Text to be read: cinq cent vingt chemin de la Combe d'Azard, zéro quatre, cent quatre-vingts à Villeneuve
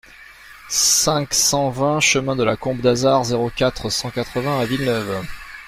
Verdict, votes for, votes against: accepted, 2, 0